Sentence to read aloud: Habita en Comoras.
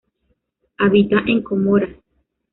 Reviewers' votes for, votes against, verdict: 0, 2, rejected